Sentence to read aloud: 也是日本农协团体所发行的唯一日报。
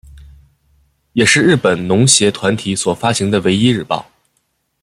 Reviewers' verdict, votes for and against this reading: accepted, 2, 0